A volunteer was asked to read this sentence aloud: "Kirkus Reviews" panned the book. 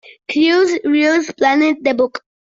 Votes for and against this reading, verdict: 0, 2, rejected